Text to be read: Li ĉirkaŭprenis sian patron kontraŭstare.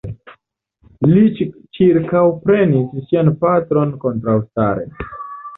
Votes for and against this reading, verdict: 0, 2, rejected